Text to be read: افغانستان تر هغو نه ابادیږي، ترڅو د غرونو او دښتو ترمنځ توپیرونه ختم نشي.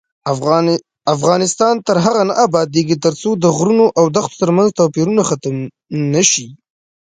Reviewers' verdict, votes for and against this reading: accepted, 2, 0